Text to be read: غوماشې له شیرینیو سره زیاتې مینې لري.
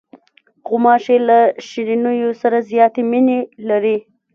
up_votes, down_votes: 1, 2